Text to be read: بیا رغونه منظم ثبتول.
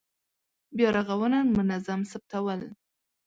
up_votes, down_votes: 4, 1